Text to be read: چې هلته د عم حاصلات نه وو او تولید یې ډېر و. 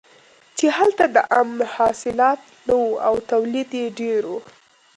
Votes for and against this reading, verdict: 2, 0, accepted